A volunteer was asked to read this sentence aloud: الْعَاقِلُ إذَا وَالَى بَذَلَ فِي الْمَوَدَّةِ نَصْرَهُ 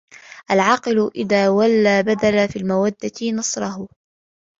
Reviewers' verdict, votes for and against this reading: accepted, 2, 1